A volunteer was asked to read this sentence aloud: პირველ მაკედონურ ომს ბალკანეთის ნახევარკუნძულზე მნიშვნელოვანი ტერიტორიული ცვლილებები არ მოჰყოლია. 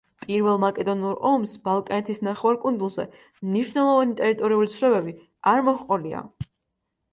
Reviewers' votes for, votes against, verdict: 2, 0, accepted